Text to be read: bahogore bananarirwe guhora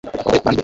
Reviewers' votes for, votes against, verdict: 0, 2, rejected